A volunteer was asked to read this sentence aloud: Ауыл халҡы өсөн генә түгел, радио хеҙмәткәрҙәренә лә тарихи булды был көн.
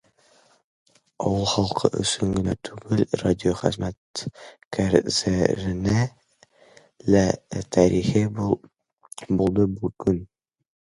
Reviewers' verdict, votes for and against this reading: rejected, 0, 2